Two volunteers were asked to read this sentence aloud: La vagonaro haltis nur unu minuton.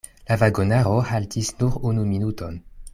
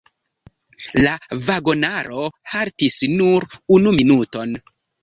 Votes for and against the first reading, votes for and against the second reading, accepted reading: 2, 0, 1, 3, first